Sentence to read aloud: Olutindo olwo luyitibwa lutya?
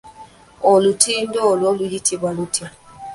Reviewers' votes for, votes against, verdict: 0, 2, rejected